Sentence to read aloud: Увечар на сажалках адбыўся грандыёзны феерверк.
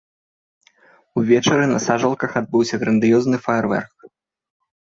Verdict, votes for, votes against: rejected, 0, 3